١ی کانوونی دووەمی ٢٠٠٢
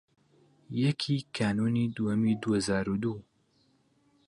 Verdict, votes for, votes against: rejected, 0, 2